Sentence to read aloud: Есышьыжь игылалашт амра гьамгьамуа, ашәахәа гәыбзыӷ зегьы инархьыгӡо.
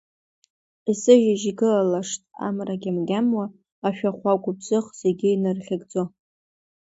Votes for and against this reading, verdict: 2, 1, accepted